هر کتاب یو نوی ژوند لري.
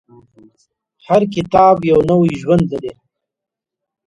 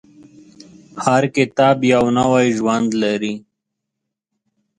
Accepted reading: second